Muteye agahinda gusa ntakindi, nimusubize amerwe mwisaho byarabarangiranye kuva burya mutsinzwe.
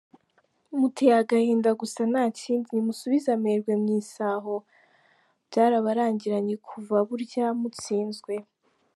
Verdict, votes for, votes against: rejected, 0, 2